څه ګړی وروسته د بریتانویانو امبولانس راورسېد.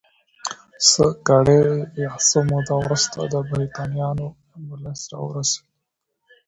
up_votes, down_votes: 0, 2